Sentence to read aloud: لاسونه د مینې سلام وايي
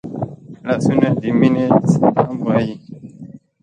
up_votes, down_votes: 0, 2